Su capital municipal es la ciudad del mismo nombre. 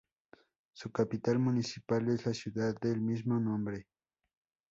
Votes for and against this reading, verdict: 2, 0, accepted